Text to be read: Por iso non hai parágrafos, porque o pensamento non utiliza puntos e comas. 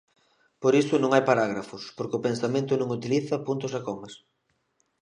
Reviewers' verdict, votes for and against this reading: rejected, 0, 2